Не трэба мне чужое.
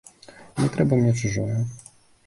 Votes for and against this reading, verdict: 2, 0, accepted